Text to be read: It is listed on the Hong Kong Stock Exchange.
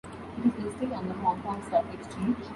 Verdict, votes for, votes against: rejected, 1, 2